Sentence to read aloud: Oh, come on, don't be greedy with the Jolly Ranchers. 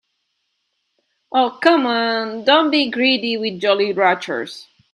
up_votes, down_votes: 1, 2